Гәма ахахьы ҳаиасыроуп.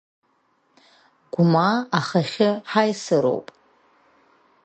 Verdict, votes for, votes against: rejected, 1, 2